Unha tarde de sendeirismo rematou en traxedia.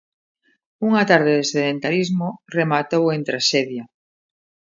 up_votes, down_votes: 0, 2